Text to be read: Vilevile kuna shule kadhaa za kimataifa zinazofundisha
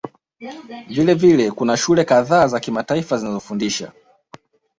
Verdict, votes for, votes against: accepted, 2, 0